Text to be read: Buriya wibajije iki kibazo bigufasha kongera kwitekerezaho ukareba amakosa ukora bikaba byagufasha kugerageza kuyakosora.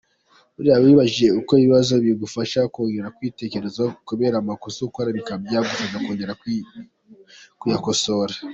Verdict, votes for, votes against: rejected, 0, 2